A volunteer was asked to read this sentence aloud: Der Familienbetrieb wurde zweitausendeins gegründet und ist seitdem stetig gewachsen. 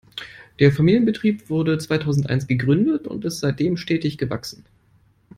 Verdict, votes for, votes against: accepted, 2, 0